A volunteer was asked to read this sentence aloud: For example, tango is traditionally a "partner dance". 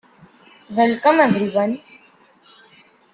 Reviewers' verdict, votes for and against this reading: rejected, 0, 2